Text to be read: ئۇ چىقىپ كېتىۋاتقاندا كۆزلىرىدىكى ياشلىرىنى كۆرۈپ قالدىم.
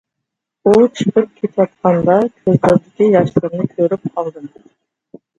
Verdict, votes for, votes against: rejected, 0, 2